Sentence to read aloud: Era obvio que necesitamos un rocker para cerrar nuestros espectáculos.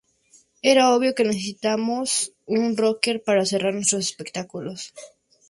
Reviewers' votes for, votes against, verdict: 2, 0, accepted